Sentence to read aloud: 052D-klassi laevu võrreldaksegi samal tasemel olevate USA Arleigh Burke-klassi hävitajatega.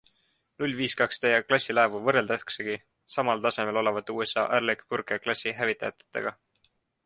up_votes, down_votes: 0, 2